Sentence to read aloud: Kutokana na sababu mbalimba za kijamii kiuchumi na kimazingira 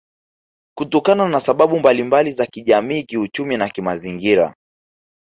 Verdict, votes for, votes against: rejected, 1, 2